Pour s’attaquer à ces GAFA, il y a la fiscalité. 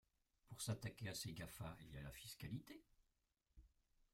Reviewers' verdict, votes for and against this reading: rejected, 0, 2